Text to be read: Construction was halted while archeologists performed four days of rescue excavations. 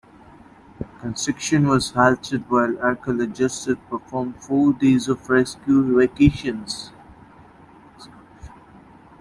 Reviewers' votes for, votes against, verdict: 0, 2, rejected